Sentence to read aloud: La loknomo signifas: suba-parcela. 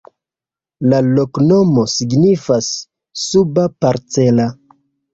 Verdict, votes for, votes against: accepted, 2, 0